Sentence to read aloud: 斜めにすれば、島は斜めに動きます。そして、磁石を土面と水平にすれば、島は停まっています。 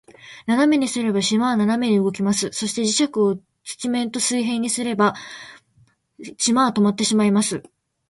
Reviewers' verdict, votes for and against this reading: rejected, 1, 2